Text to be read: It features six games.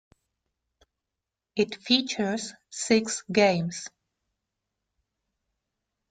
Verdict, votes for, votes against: accepted, 2, 0